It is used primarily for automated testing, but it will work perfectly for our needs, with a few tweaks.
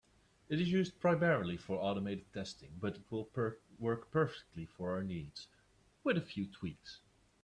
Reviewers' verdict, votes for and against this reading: rejected, 1, 2